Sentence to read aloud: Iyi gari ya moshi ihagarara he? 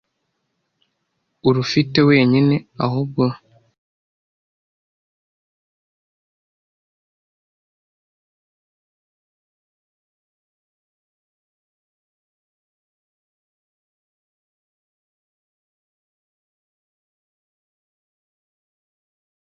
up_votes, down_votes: 0, 2